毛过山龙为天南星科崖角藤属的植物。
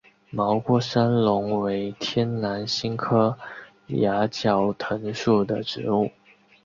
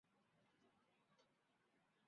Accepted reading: first